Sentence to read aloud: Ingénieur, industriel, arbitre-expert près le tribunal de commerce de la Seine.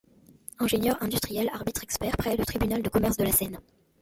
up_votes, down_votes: 2, 0